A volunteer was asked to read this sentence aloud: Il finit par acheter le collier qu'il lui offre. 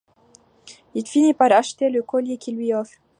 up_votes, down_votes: 2, 0